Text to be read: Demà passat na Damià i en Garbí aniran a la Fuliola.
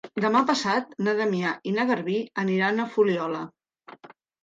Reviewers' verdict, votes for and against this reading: rejected, 0, 2